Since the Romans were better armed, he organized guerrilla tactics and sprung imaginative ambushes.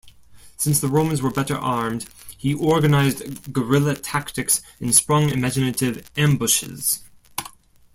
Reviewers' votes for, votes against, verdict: 2, 0, accepted